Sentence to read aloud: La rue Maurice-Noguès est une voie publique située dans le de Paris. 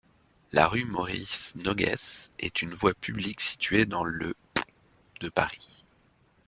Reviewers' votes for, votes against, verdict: 2, 0, accepted